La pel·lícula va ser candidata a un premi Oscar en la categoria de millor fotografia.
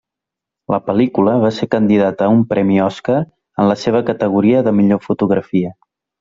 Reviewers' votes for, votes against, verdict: 0, 2, rejected